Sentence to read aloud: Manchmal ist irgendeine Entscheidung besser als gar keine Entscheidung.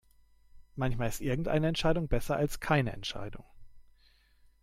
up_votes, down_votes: 0, 2